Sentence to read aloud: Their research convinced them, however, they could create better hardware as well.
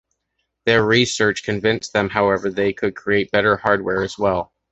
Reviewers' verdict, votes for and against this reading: accepted, 2, 0